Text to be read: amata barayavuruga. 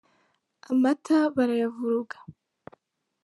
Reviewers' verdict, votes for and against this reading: accepted, 2, 1